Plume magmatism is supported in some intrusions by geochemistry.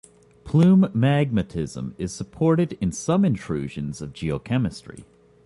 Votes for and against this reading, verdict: 0, 2, rejected